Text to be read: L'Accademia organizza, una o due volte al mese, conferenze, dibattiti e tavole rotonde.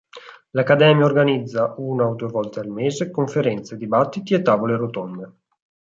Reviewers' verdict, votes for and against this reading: accepted, 4, 0